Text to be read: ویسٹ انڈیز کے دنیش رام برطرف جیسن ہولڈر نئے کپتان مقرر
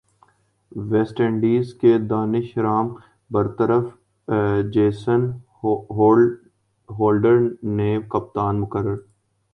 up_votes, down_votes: 1, 2